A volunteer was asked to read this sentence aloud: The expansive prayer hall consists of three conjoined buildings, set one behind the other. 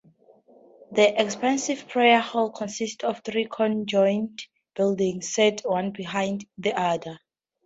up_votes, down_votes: 2, 0